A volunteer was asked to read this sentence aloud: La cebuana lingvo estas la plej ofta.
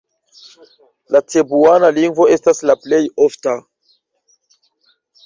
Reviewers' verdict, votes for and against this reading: accepted, 2, 1